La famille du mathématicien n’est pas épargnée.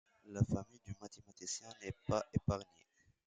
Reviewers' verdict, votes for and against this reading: rejected, 1, 2